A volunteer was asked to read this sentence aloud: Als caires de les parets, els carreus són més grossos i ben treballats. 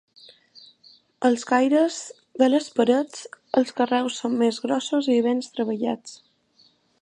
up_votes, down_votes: 0, 2